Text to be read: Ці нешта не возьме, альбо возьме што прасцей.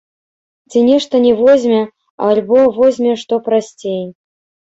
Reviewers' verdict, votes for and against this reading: rejected, 1, 2